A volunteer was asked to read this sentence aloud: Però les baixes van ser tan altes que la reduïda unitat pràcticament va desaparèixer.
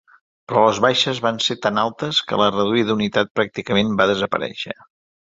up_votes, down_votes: 2, 0